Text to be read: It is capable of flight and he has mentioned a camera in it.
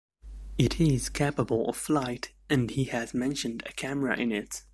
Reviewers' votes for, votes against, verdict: 2, 0, accepted